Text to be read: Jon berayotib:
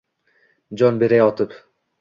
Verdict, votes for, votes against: rejected, 1, 2